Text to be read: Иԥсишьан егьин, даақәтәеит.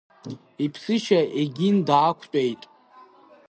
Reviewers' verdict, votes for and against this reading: rejected, 1, 2